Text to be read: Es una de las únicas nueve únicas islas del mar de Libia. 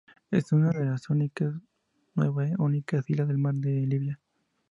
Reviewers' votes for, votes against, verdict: 4, 0, accepted